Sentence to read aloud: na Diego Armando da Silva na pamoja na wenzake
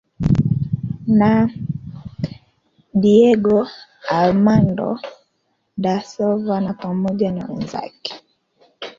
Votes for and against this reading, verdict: 2, 0, accepted